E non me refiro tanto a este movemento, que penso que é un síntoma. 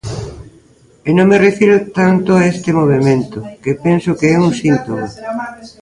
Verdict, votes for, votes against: rejected, 1, 2